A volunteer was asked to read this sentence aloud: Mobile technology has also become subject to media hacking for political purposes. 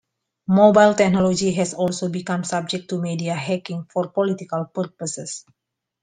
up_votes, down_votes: 2, 0